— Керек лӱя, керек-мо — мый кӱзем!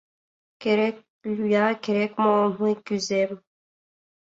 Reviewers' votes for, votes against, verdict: 2, 0, accepted